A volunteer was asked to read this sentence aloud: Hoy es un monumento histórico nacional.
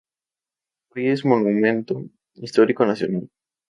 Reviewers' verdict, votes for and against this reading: accepted, 2, 0